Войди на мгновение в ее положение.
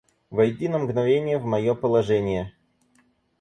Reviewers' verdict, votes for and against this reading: rejected, 0, 4